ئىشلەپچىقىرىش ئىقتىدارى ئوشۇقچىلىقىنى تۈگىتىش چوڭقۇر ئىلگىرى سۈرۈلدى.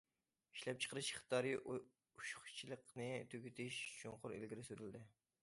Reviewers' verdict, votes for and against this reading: rejected, 0, 2